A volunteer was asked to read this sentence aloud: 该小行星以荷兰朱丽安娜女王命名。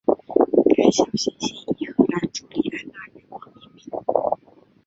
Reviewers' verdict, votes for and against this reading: accepted, 4, 2